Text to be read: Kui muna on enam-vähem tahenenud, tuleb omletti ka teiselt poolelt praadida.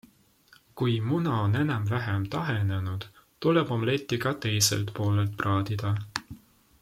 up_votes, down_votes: 2, 0